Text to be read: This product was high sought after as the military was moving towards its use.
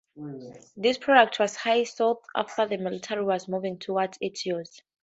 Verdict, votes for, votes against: accepted, 2, 0